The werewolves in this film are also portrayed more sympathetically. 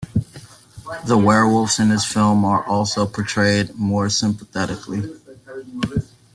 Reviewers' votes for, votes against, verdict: 0, 2, rejected